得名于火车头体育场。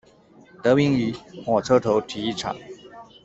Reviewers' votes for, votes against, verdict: 2, 0, accepted